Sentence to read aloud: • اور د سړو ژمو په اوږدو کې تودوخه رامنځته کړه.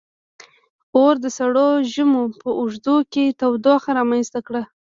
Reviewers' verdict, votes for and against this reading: accepted, 2, 1